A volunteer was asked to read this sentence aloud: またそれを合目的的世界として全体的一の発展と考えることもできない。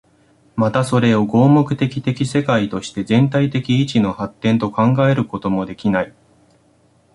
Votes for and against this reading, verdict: 2, 0, accepted